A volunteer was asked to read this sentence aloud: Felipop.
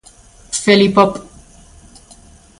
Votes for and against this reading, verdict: 2, 0, accepted